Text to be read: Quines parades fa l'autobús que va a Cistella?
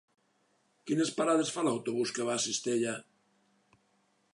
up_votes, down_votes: 3, 0